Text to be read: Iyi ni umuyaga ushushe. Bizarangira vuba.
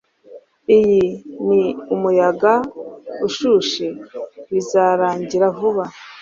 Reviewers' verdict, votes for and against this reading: accepted, 2, 0